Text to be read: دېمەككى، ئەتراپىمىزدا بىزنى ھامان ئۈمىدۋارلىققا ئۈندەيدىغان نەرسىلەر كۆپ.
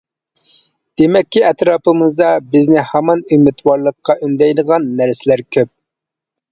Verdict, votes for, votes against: accepted, 2, 0